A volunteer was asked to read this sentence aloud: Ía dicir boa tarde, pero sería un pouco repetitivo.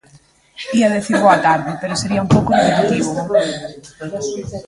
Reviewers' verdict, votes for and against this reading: rejected, 1, 2